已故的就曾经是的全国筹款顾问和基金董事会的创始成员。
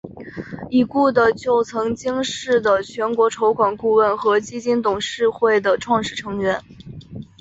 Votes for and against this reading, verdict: 2, 0, accepted